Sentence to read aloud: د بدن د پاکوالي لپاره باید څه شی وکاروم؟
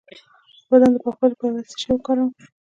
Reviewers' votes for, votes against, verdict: 2, 0, accepted